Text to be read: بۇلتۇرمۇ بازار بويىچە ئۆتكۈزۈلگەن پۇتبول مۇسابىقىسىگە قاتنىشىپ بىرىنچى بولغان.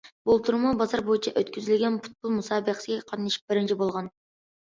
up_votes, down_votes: 2, 1